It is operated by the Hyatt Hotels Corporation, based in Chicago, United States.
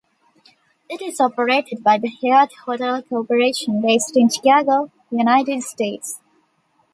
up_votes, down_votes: 1, 2